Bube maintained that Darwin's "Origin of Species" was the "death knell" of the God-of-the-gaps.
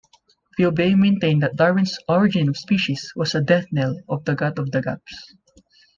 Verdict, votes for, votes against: accepted, 2, 0